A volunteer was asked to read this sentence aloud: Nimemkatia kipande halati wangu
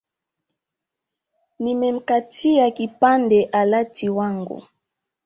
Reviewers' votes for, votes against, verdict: 3, 1, accepted